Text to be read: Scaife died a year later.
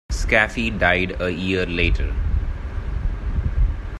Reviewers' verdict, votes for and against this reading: rejected, 1, 2